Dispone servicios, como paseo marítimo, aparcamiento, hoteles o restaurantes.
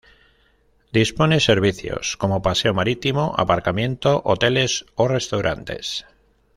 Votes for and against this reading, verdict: 2, 0, accepted